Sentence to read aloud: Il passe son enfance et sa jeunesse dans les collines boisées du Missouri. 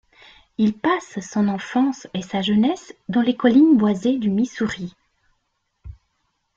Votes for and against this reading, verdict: 2, 0, accepted